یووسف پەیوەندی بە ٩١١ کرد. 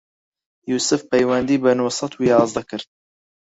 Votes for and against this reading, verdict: 0, 2, rejected